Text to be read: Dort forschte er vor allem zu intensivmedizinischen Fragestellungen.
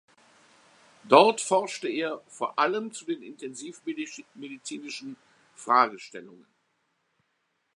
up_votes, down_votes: 0, 2